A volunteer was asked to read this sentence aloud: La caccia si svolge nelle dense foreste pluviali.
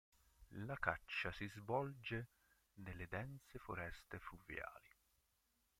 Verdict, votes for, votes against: rejected, 0, 2